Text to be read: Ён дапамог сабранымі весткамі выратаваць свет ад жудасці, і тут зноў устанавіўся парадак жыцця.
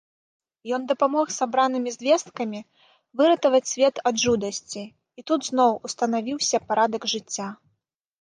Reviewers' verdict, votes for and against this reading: rejected, 1, 2